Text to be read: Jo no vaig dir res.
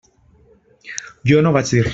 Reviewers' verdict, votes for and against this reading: rejected, 0, 2